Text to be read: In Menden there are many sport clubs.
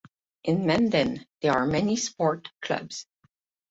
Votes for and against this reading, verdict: 8, 0, accepted